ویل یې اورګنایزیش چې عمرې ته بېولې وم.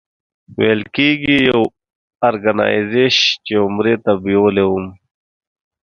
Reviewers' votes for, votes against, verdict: 1, 2, rejected